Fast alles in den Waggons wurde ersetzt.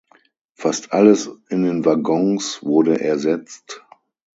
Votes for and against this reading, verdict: 6, 0, accepted